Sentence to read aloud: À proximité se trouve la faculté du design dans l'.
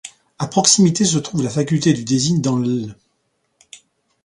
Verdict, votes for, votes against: accepted, 2, 0